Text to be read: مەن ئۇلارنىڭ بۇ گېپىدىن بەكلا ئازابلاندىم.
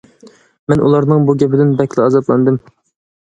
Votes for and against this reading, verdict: 2, 0, accepted